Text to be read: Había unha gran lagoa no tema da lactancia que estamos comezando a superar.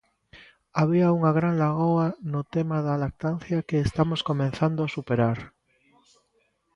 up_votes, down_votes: 0, 2